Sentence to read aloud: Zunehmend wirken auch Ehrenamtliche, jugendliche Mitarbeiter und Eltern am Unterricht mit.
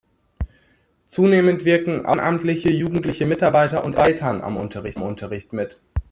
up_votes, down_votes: 0, 2